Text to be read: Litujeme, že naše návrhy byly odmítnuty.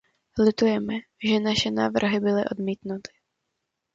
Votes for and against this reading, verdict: 2, 0, accepted